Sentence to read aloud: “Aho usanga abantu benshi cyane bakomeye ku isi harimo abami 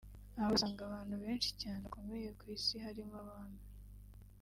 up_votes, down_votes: 2, 0